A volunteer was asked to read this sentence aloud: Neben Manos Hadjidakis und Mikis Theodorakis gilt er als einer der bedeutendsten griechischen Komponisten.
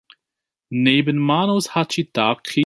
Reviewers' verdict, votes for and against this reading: rejected, 0, 2